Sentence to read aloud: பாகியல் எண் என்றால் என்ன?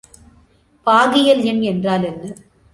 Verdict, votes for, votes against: accepted, 2, 0